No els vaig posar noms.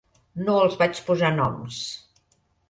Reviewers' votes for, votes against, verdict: 4, 1, accepted